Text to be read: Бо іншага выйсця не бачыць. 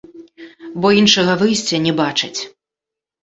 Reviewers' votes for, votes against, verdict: 1, 2, rejected